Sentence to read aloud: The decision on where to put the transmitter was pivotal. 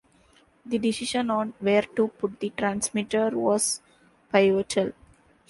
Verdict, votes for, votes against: accepted, 2, 1